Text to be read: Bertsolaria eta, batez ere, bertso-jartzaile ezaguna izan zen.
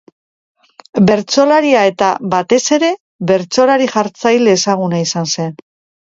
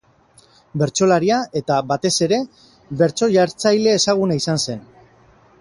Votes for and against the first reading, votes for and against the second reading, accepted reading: 1, 2, 6, 0, second